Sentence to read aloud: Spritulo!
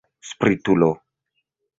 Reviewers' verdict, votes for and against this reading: accepted, 2, 0